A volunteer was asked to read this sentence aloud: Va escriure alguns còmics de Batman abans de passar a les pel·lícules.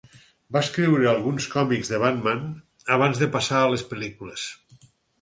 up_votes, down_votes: 4, 0